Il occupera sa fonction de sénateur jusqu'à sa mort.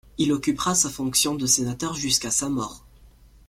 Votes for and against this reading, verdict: 2, 0, accepted